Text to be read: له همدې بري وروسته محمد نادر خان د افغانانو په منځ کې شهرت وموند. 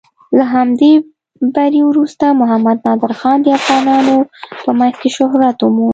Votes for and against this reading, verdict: 2, 0, accepted